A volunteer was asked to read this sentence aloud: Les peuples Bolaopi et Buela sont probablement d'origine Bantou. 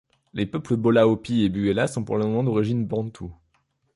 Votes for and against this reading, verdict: 2, 0, accepted